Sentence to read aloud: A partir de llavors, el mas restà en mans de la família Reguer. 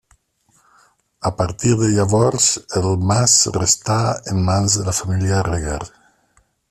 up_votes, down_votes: 2, 0